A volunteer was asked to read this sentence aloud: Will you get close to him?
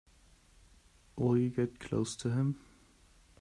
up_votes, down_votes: 2, 0